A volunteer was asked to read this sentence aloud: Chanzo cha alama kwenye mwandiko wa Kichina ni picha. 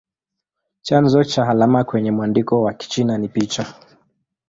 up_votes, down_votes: 2, 0